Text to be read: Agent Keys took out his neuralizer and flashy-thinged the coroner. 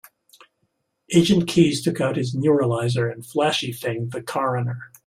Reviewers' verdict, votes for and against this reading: rejected, 0, 2